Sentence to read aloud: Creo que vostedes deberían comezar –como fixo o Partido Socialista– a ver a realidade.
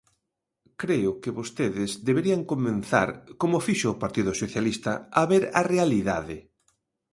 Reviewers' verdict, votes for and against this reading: rejected, 0, 2